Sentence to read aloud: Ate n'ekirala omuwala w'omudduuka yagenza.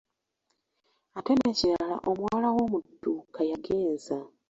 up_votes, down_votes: 0, 2